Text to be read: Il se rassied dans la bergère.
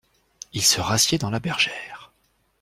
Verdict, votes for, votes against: accepted, 2, 0